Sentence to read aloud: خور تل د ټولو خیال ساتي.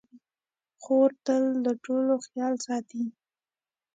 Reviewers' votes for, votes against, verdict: 2, 0, accepted